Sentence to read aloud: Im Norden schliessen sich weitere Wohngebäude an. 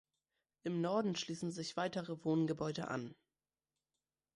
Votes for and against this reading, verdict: 2, 0, accepted